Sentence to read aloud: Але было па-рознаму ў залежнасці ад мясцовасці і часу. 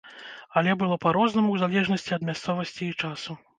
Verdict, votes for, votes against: accepted, 2, 0